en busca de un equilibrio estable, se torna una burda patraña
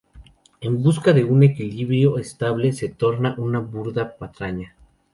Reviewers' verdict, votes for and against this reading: accepted, 2, 0